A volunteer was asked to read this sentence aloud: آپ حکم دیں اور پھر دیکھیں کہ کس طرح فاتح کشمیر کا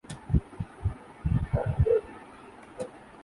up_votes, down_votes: 1, 7